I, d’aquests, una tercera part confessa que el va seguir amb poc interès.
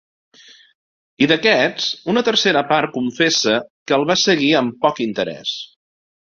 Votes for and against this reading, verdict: 3, 0, accepted